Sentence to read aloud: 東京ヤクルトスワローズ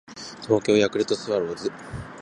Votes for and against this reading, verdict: 2, 0, accepted